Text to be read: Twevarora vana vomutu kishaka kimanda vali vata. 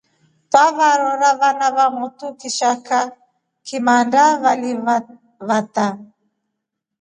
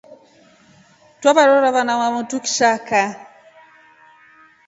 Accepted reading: first